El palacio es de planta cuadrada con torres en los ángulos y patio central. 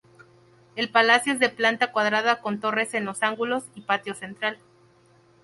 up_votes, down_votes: 2, 0